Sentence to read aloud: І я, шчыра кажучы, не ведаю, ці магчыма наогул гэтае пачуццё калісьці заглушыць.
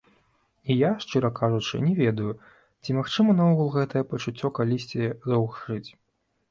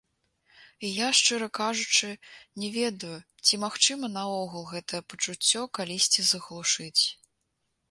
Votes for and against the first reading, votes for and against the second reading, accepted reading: 1, 2, 2, 0, second